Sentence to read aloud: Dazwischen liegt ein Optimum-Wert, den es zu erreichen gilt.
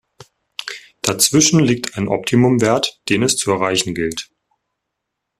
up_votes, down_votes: 2, 0